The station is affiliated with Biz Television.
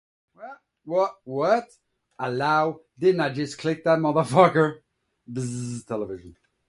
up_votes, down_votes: 0, 2